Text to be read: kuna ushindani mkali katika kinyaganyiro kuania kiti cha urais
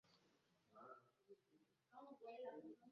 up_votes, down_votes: 0, 2